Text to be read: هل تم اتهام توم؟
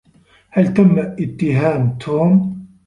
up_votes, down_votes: 0, 2